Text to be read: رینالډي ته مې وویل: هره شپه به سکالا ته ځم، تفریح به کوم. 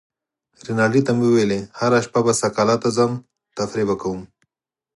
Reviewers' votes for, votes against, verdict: 4, 0, accepted